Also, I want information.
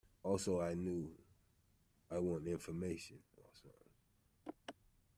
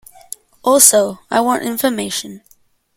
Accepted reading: second